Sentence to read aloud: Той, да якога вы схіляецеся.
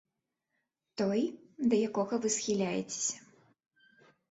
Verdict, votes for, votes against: accepted, 2, 0